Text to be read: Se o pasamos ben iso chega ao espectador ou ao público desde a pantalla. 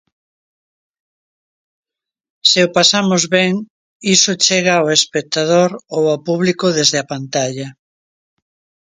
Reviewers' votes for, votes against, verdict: 2, 0, accepted